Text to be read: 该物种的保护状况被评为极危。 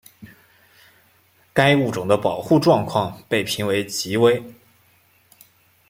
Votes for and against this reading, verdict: 2, 0, accepted